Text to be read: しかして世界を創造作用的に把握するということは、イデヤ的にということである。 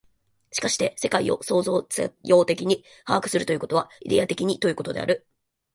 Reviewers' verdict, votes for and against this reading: accepted, 7, 1